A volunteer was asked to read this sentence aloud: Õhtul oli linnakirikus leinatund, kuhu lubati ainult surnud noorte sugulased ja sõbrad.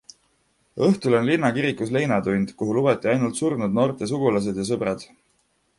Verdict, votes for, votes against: accepted, 2, 1